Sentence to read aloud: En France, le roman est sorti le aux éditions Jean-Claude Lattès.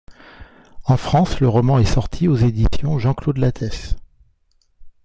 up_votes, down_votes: 1, 2